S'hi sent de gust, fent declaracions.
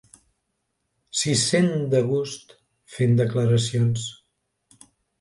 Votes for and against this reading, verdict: 2, 0, accepted